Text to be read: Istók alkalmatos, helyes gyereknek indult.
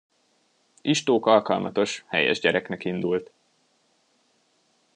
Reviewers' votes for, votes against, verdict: 2, 1, accepted